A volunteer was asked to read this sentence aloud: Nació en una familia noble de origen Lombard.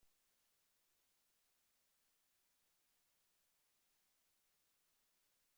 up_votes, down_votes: 0, 2